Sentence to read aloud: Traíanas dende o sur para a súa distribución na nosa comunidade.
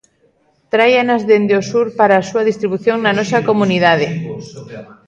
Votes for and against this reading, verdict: 1, 2, rejected